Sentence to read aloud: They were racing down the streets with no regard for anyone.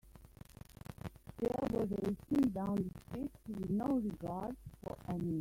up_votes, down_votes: 0, 2